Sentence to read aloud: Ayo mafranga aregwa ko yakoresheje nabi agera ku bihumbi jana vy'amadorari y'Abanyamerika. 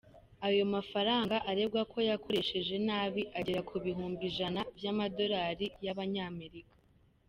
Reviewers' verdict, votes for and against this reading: accepted, 3, 1